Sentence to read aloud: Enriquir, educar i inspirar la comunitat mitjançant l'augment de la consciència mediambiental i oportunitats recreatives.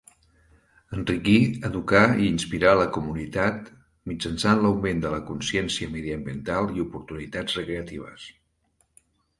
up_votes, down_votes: 2, 1